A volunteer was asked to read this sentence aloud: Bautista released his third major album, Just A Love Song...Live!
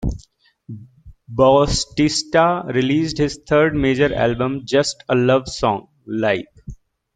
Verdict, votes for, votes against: rejected, 0, 2